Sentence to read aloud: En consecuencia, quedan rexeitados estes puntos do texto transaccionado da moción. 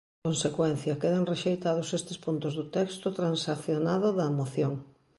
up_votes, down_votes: 0, 2